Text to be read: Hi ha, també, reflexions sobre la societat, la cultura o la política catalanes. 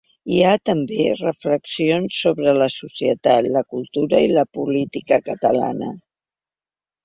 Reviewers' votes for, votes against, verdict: 1, 2, rejected